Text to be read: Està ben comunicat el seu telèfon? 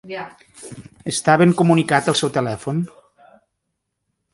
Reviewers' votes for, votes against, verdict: 1, 2, rejected